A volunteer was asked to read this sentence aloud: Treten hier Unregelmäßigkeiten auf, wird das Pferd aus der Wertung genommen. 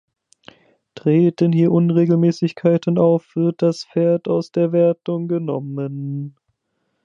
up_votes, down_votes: 0, 2